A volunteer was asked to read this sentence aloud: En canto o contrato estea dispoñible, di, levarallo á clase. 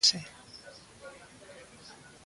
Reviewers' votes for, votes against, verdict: 0, 2, rejected